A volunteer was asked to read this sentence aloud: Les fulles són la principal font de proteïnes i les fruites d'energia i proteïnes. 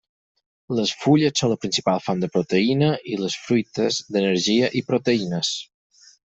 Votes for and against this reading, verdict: 2, 4, rejected